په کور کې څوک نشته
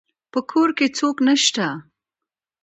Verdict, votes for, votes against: accepted, 2, 0